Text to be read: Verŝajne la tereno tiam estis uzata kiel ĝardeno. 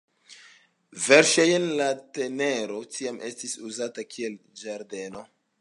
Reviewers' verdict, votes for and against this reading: accepted, 2, 0